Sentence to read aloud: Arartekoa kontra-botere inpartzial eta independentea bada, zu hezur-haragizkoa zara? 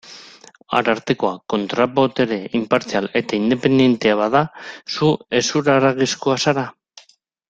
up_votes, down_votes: 3, 1